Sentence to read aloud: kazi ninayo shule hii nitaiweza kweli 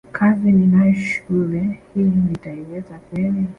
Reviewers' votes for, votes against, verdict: 2, 1, accepted